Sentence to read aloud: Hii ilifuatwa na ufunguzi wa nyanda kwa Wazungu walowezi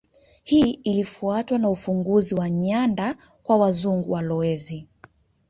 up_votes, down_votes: 1, 2